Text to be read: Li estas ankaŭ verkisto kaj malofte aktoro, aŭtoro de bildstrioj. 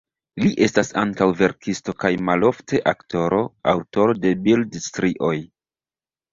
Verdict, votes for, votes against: accepted, 2, 0